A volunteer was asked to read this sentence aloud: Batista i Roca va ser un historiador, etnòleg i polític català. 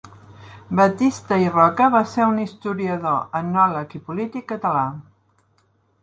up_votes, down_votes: 2, 0